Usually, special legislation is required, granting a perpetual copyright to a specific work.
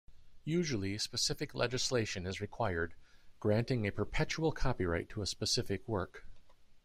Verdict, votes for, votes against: rejected, 1, 2